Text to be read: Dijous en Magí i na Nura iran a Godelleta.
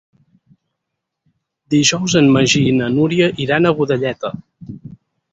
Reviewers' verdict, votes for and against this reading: rejected, 0, 4